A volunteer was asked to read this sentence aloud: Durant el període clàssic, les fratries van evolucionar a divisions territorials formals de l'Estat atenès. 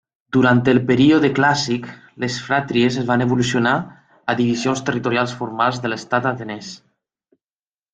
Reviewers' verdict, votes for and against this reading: accepted, 2, 1